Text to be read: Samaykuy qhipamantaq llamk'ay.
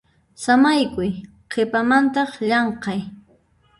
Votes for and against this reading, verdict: 0, 2, rejected